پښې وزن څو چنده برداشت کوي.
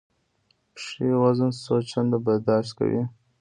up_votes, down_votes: 1, 2